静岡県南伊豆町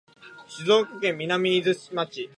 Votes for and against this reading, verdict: 1, 2, rejected